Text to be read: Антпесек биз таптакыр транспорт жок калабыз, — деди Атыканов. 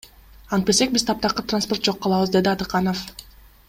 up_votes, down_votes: 2, 0